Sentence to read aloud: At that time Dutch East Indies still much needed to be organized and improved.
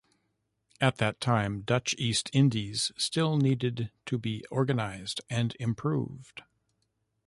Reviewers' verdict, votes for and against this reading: rejected, 1, 2